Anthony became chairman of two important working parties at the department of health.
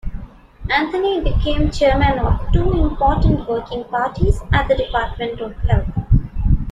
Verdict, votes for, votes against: accepted, 2, 0